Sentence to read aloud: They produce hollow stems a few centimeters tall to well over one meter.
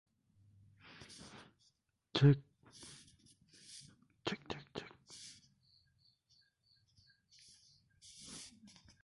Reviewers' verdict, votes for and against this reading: rejected, 0, 2